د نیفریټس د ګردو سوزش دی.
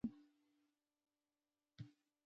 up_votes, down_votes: 0, 2